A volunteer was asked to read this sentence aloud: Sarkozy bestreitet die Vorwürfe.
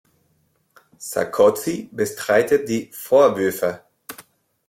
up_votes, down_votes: 1, 2